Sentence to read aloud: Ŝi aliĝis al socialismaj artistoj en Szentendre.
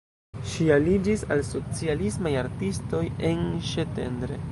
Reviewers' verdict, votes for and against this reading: rejected, 0, 2